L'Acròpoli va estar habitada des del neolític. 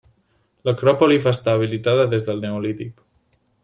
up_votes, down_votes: 0, 2